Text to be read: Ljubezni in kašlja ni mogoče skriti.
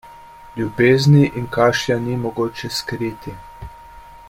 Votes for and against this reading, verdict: 2, 0, accepted